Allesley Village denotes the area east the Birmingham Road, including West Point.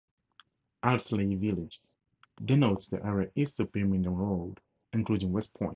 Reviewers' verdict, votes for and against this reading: accepted, 4, 0